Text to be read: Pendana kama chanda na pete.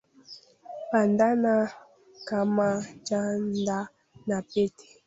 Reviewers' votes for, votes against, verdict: 0, 2, rejected